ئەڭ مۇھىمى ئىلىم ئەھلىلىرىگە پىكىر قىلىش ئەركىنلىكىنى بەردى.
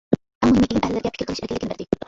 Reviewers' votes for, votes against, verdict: 0, 2, rejected